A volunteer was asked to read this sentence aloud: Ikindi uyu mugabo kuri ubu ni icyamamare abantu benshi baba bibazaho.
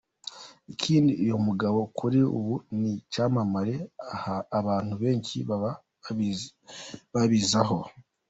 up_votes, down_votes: 1, 2